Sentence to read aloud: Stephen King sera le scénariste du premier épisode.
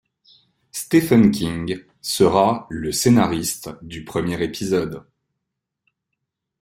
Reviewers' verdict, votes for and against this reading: accepted, 2, 0